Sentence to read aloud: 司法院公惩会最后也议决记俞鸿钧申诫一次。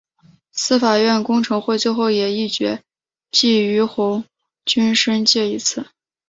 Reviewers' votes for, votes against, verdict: 2, 0, accepted